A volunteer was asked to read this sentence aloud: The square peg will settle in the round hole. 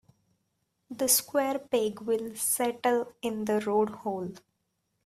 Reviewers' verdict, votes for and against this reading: rejected, 1, 2